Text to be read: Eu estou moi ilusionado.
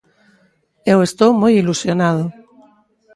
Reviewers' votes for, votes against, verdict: 0, 2, rejected